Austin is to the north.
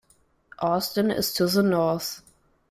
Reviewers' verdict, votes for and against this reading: accepted, 2, 0